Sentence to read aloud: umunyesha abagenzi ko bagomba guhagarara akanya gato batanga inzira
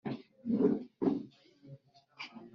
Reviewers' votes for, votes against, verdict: 0, 2, rejected